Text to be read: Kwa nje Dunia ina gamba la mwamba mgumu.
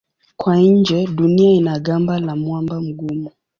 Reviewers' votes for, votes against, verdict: 2, 0, accepted